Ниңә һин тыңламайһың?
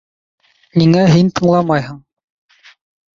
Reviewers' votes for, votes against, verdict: 0, 2, rejected